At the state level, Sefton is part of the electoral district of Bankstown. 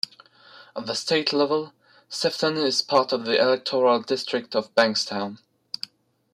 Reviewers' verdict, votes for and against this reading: accepted, 2, 0